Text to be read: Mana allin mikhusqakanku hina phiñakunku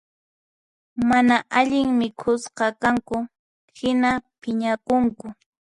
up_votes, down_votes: 4, 2